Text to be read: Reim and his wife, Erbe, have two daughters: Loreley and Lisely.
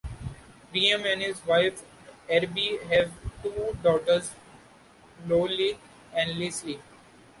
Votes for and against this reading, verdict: 2, 1, accepted